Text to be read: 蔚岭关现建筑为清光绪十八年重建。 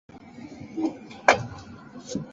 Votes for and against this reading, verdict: 2, 1, accepted